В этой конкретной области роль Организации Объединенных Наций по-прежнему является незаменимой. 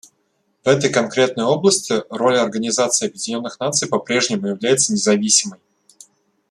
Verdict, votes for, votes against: rejected, 1, 2